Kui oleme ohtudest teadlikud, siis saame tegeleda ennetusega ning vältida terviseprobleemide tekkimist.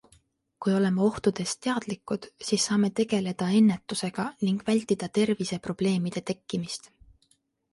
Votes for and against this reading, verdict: 2, 0, accepted